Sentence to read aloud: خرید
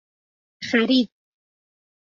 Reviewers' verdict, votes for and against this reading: accepted, 2, 0